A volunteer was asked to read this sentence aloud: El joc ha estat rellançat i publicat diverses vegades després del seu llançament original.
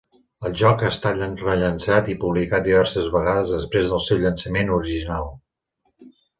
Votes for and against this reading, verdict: 2, 1, accepted